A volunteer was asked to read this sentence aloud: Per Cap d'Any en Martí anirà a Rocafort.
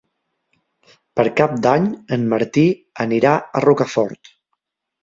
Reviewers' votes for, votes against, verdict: 4, 0, accepted